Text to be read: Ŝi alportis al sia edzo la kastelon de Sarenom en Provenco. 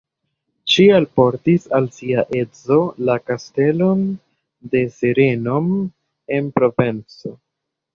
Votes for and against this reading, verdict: 1, 2, rejected